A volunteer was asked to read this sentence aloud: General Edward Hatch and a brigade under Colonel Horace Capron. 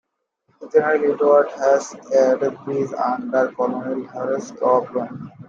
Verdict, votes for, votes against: accepted, 2, 1